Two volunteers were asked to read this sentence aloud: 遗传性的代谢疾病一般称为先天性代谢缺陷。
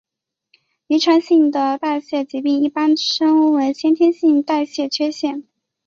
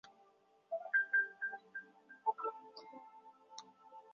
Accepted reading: first